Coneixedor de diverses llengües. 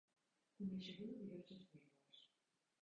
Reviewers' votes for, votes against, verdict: 1, 2, rejected